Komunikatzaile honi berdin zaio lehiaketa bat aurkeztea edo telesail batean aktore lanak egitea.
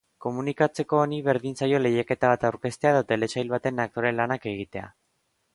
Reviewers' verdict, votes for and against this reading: rejected, 0, 2